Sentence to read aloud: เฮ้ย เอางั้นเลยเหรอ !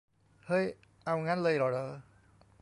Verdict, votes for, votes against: rejected, 1, 2